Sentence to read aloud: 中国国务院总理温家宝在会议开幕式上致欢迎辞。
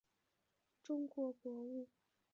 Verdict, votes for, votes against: rejected, 0, 4